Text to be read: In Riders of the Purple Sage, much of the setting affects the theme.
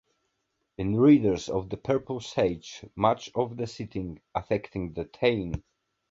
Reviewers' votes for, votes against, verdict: 2, 1, accepted